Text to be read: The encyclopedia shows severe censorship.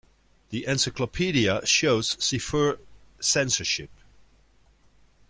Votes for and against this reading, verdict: 1, 2, rejected